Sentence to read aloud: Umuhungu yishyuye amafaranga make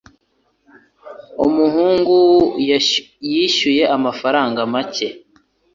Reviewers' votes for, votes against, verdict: 0, 2, rejected